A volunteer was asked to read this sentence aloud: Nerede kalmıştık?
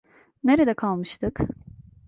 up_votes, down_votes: 2, 0